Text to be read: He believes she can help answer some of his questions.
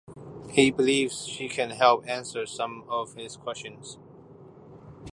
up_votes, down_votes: 2, 1